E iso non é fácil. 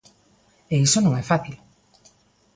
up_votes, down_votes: 2, 1